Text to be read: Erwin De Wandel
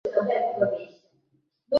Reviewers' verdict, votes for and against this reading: rejected, 0, 2